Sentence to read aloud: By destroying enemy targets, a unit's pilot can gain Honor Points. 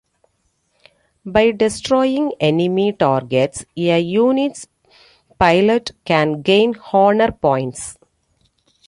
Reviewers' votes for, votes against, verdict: 2, 0, accepted